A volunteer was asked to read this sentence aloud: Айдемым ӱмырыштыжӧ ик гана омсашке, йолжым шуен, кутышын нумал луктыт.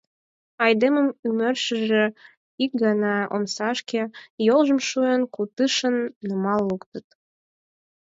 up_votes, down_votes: 2, 4